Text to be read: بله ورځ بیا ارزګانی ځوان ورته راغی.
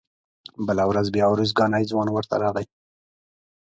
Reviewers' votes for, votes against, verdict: 2, 0, accepted